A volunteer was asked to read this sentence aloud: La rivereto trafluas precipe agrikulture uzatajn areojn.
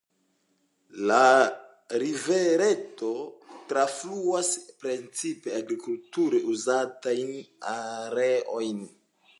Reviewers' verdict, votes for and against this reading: accepted, 2, 0